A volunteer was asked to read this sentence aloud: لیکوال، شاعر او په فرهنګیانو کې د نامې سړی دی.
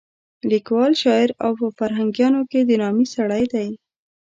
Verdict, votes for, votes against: accepted, 2, 0